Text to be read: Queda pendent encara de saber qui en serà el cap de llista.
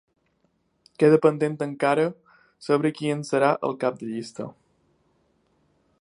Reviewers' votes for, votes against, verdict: 1, 2, rejected